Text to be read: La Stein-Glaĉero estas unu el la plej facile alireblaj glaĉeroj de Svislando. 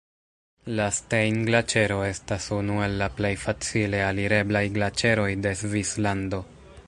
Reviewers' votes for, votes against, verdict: 2, 1, accepted